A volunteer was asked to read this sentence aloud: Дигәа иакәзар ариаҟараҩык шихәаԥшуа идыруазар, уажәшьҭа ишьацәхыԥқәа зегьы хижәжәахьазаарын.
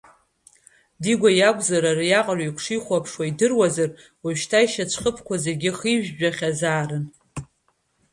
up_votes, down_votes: 2, 0